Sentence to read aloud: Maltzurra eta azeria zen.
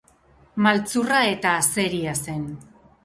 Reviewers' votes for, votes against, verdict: 4, 0, accepted